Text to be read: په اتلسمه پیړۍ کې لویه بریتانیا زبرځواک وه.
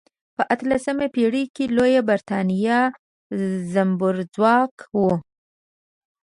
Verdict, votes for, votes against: rejected, 1, 2